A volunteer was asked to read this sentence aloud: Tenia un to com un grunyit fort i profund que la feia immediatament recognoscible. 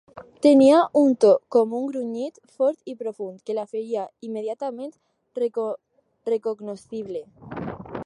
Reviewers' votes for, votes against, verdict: 0, 2, rejected